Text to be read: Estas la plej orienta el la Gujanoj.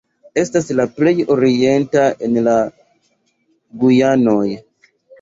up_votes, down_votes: 0, 2